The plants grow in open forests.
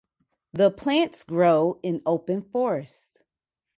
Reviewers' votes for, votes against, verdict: 2, 0, accepted